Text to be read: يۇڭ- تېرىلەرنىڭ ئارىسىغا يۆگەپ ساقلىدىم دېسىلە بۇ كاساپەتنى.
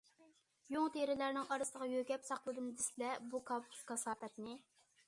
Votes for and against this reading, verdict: 0, 2, rejected